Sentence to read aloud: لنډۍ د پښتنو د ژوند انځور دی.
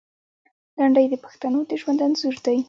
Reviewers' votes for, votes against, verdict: 2, 0, accepted